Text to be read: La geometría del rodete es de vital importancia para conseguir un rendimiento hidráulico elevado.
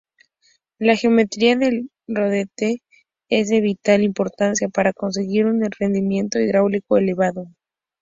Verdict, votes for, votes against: accepted, 2, 0